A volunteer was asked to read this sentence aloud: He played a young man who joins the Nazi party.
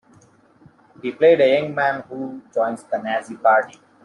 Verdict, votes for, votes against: rejected, 0, 2